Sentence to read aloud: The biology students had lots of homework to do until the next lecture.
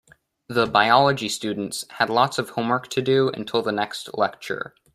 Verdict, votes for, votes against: accepted, 2, 0